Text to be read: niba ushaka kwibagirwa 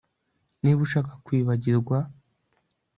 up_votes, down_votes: 2, 0